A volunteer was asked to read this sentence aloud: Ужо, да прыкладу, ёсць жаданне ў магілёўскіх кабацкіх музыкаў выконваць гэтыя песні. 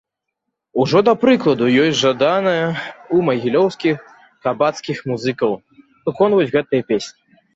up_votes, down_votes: 0, 2